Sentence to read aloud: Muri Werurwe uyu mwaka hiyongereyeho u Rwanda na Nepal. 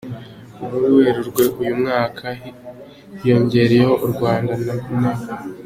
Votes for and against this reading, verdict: 2, 0, accepted